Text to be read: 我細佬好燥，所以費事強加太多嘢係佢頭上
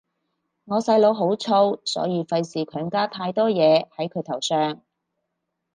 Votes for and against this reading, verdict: 2, 2, rejected